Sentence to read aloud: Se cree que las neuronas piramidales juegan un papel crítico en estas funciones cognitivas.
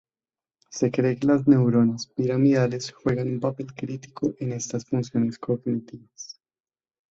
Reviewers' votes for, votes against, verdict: 2, 0, accepted